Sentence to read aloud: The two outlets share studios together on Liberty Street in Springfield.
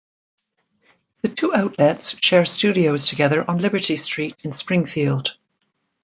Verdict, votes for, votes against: accepted, 2, 1